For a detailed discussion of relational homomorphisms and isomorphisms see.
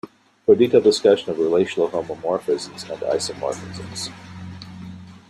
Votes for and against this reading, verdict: 0, 2, rejected